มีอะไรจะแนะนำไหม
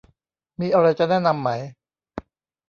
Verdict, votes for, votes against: accepted, 2, 0